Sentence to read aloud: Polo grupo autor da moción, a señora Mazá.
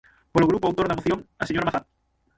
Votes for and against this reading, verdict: 0, 6, rejected